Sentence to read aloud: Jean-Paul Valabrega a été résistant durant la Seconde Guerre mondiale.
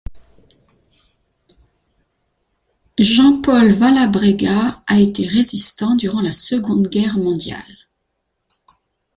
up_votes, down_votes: 2, 0